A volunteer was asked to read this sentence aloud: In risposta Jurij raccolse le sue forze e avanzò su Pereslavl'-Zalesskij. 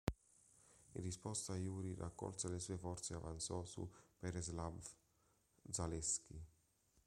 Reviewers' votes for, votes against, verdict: 2, 1, accepted